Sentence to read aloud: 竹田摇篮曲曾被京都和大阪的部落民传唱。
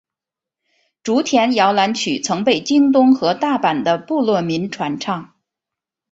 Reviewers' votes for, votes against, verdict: 4, 1, accepted